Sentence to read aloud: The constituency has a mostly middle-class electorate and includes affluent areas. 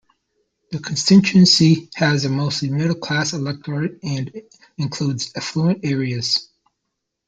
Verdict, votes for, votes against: rejected, 1, 2